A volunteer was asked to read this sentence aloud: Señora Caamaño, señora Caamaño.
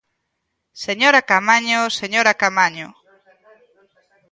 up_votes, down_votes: 0, 2